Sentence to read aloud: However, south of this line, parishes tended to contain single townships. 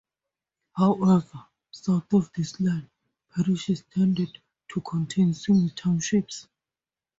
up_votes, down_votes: 2, 0